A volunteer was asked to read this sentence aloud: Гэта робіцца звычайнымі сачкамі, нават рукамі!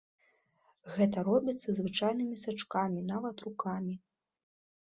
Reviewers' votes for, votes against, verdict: 3, 0, accepted